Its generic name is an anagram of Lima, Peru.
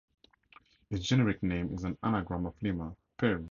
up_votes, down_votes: 0, 2